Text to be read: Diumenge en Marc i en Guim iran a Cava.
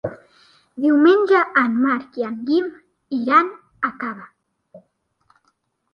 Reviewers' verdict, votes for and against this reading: accepted, 2, 0